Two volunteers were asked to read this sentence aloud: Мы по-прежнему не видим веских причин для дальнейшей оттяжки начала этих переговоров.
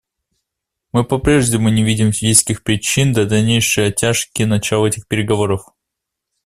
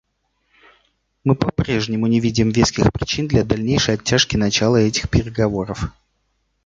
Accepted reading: second